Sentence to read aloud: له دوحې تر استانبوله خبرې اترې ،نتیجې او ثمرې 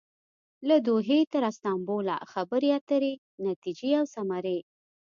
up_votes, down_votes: 2, 0